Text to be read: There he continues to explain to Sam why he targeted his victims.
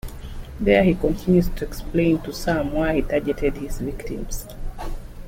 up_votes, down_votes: 0, 2